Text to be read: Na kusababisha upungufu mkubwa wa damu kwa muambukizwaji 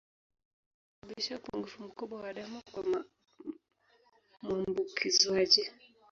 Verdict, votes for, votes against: rejected, 1, 2